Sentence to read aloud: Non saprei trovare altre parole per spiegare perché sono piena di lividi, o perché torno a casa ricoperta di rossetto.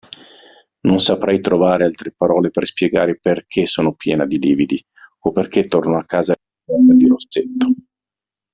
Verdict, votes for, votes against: rejected, 1, 2